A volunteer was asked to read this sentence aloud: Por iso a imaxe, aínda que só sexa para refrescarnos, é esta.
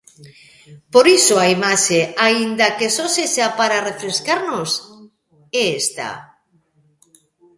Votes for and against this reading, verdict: 2, 1, accepted